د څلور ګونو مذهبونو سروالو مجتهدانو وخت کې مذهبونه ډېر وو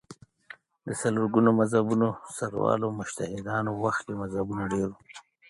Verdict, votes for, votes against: accepted, 3, 0